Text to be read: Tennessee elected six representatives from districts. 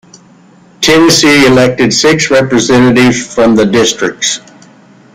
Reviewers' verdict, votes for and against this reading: accepted, 2, 1